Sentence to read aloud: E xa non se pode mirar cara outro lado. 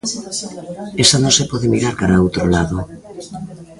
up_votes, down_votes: 0, 2